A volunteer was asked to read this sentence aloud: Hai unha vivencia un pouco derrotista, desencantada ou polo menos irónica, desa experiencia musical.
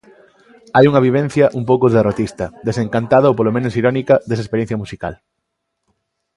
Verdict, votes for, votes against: accepted, 2, 0